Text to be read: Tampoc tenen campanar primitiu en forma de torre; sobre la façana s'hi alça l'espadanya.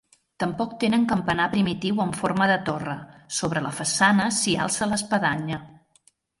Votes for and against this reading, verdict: 3, 0, accepted